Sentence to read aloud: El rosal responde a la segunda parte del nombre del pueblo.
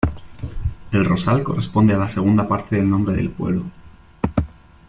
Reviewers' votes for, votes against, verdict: 0, 2, rejected